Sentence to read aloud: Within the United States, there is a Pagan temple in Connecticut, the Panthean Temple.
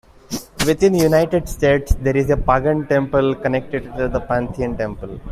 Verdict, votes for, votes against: rejected, 0, 2